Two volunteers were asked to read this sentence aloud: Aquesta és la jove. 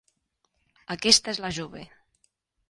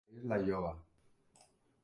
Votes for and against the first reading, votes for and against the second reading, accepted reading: 3, 0, 0, 3, first